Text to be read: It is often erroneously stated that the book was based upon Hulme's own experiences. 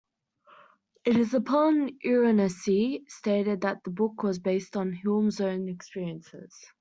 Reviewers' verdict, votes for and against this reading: rejected, 0, 2